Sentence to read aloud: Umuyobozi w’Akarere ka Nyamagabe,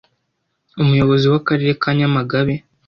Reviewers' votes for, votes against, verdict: 2, 1, accepted